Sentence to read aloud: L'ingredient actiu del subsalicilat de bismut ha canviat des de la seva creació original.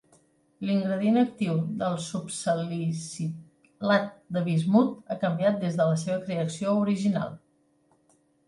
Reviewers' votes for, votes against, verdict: 1, 2, rejected